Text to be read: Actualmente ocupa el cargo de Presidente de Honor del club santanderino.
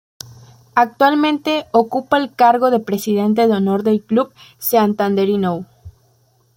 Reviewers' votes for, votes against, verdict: 0, 2, rejected